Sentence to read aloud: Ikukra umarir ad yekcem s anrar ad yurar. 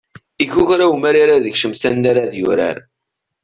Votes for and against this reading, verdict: 2, 1, accepted